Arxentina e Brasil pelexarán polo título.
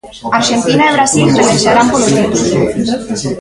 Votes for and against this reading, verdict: 0, 2, rejected